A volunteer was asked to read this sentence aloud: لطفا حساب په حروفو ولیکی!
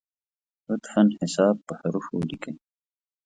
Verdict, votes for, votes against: accepted, 2, 0